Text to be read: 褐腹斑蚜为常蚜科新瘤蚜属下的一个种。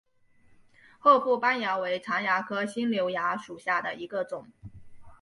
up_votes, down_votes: 5, 0